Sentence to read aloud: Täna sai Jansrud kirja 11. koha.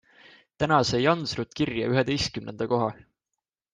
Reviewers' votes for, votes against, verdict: 0, 2, rejected